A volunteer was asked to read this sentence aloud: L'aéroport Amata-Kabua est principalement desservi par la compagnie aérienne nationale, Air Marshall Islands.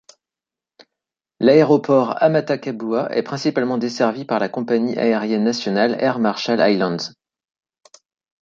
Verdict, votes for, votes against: accepted, 2, 0